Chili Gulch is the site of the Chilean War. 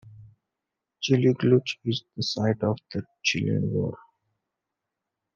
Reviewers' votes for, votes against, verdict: 2, 0, accepted